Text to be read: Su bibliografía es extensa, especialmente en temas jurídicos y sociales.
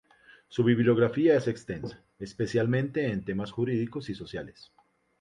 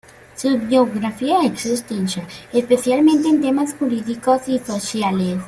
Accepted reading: first